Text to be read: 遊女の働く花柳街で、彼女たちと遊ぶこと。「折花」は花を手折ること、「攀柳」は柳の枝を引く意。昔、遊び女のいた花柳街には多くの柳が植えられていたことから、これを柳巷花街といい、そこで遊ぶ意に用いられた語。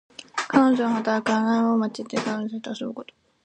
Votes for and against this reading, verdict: 2, 0, accepted